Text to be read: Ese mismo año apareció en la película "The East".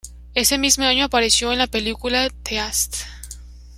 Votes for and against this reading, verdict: 1, 2, rejected